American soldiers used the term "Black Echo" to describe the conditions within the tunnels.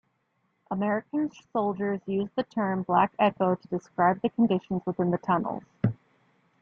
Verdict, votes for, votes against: accepted, 2, 0